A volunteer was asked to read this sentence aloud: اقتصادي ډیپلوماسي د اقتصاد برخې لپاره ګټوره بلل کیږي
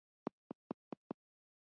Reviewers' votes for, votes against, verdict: 1, 2, rejected